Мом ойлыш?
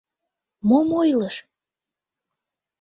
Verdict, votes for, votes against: accepted, 2, 0